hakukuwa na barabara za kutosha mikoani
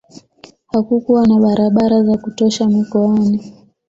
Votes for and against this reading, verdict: 2, 1, accepted